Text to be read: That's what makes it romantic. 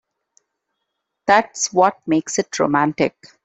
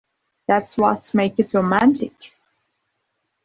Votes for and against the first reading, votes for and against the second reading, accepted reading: 3, 0, 2, 3, first